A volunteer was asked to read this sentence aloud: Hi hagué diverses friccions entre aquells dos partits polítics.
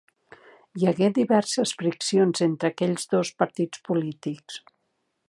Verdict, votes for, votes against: accepted, 2, 0